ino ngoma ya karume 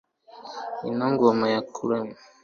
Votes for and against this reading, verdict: 2, 1, accepted